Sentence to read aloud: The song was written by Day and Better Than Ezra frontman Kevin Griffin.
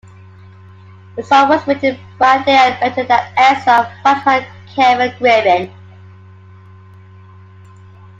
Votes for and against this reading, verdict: 0, 2, rejected